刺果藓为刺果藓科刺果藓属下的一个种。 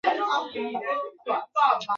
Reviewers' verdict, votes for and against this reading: rejected, 0, 3